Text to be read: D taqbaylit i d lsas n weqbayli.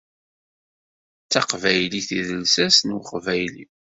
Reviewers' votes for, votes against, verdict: 2, 0, accepted